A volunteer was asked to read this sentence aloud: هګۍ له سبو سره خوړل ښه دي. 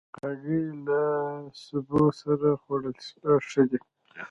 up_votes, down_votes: 0, 2